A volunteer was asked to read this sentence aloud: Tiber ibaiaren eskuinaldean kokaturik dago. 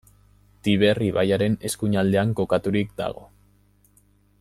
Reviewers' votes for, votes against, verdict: 2, 0, accepted